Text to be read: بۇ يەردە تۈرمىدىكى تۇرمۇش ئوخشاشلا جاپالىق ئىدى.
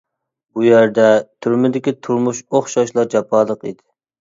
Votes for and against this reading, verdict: 2, 0, accepted